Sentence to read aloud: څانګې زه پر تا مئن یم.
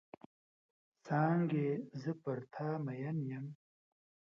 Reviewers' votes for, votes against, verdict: 2, 0, accepted